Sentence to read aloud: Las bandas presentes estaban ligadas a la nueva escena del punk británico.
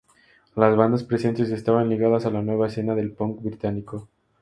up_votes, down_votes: 2, 2